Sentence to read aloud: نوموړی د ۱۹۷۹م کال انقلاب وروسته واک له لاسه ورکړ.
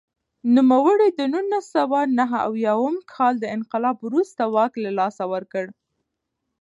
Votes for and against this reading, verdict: 0, 2, rejected